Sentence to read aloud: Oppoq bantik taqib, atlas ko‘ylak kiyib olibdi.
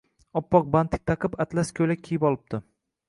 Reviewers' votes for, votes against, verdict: 2, 0, accepted